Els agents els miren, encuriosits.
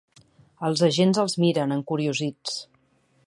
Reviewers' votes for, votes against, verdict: 2, 0, accepted